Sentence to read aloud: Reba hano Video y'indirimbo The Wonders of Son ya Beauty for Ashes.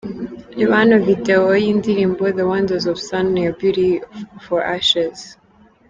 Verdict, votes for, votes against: accepted, 3, 0